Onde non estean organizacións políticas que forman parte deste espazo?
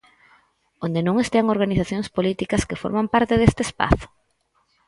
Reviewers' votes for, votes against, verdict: 4, 0, accepted